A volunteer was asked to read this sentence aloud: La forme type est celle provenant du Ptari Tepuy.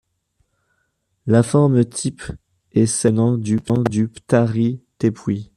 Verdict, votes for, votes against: rejected, 0, 2